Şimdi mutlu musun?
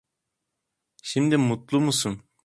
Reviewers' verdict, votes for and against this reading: accepted, 2, 0